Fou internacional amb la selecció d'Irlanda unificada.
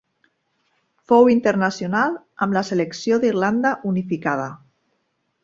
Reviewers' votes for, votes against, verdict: 2, 0, accepted